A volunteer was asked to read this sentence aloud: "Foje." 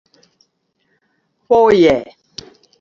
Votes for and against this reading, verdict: 2, 0, accepted